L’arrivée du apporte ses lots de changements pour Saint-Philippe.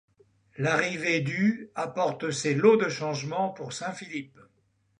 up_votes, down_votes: 2, 0